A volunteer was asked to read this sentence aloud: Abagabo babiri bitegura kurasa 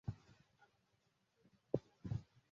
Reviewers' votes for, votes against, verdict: 0, 2, rejected